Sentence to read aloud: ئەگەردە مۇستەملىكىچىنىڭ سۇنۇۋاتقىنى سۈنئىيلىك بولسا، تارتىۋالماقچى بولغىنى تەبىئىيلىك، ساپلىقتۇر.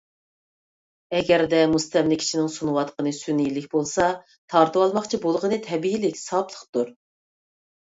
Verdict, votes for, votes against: accepted, 2, 0